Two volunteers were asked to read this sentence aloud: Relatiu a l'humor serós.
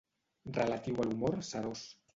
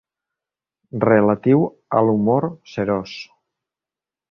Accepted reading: second